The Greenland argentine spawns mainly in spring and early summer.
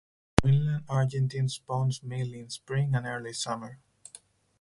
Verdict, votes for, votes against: rejected, 2, 2